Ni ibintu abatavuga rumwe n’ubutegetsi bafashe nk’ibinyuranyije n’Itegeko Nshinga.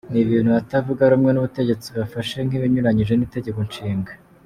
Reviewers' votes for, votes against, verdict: 2, 0, accepted